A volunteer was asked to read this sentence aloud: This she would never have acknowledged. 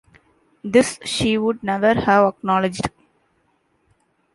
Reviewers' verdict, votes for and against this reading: accepted, 2, 0